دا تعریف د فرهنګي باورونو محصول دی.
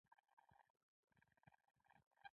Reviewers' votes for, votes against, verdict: 1, 2, rejected